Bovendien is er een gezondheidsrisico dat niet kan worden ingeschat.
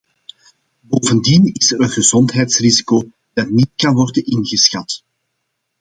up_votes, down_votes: 2, 0